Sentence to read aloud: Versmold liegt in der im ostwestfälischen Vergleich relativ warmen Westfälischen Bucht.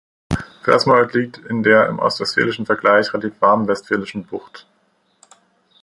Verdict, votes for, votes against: accepted, 3, 0